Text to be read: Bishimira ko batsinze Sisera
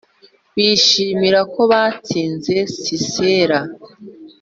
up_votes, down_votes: 2, 0